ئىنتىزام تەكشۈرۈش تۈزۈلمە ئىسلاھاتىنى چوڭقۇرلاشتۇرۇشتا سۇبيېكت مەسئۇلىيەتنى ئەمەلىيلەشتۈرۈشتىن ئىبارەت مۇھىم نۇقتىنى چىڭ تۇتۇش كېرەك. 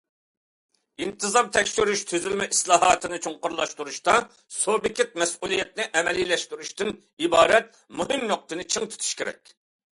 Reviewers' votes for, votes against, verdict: 2, 0, accepted